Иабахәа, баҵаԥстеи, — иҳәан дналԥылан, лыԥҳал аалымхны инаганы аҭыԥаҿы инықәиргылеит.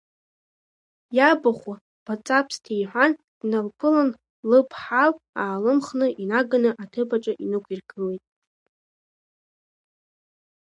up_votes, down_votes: 2, 1